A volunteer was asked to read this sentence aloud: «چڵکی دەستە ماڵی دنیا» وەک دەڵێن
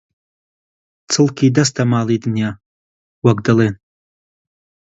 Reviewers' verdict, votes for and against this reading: accepted, 2, 0